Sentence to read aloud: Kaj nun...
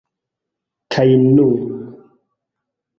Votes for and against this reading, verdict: 2, 1, accepted